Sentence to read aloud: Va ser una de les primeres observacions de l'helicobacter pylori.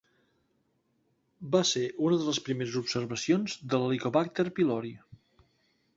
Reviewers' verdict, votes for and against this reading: accepted, 2, 0